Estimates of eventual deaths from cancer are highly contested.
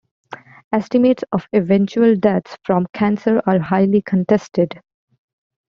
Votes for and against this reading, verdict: 2, 0, accepted